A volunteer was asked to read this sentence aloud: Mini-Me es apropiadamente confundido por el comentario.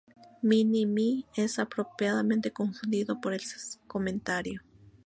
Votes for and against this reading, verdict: 0, 2, rejected